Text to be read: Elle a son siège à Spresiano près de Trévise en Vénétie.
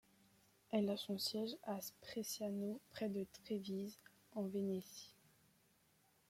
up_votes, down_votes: 1, 2